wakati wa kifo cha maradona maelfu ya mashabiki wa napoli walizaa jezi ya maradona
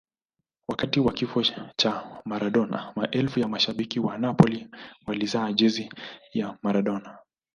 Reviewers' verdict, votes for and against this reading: accepted, 2, 1